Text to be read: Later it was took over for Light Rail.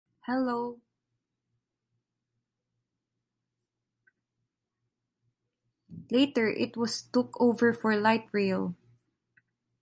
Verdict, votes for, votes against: rejected, 0, 2